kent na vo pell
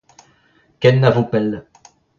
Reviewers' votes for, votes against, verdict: 2, 0, accepted